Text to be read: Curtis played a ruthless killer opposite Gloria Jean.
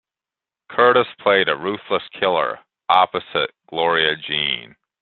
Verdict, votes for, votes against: accepted, 2, 0